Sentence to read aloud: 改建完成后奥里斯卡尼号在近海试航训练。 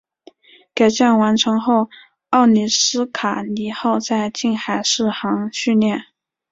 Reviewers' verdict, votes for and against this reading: accepted, 4, 0